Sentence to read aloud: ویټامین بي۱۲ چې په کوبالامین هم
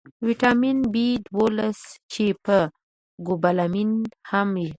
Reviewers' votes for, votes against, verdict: 0, 2, rejected